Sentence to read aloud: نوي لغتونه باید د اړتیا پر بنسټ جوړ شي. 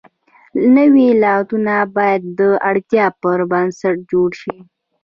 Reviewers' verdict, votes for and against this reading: rejected, 0, 2